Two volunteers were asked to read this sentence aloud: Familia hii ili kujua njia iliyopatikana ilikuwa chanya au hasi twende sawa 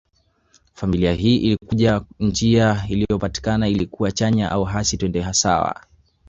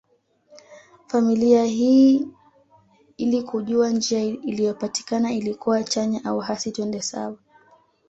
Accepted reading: second